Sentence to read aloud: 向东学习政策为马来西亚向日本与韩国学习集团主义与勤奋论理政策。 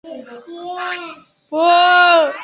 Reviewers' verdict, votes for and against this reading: rejected, 0, 2